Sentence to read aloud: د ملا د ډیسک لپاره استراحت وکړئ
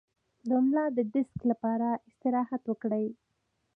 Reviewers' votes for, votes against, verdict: 2, 0, accepted